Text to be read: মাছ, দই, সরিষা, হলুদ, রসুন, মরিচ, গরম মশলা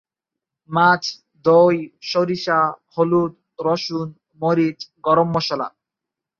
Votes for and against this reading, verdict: 0, 3, rejected